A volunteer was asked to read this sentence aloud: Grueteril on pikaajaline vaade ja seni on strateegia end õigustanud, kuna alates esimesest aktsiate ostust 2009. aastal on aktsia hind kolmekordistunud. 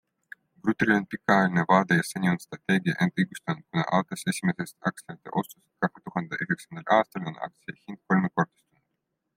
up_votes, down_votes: 0, 2